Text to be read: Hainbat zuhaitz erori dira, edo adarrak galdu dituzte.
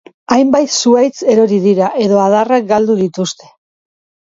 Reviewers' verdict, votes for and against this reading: rejected, 1, 2